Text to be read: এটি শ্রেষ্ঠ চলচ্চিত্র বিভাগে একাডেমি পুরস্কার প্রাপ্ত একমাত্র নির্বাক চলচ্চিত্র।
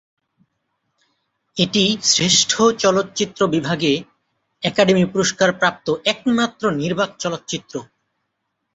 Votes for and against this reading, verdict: 2, 0, accepted